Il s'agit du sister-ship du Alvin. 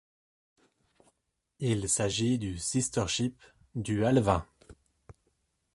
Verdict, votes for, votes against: accepted, 2, 0